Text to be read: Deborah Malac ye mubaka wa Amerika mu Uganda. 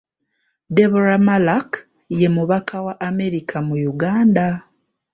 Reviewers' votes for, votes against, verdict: 2, 0, accepted